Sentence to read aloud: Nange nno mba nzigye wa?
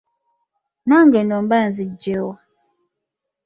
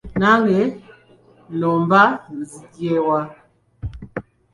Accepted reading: first